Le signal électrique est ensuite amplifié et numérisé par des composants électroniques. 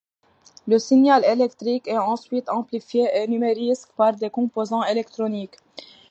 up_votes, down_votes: 1, 2